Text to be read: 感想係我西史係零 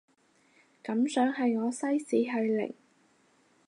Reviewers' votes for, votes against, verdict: 6, 0, accepted